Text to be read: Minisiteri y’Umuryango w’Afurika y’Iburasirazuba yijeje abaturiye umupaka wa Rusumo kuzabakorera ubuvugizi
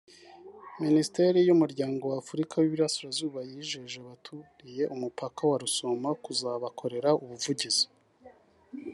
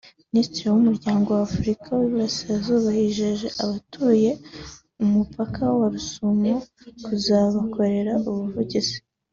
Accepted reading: first